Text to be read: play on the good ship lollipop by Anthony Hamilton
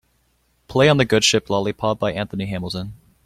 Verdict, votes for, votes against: accepted, 2, 0